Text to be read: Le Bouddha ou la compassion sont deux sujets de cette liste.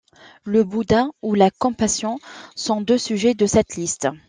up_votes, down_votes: 2, 0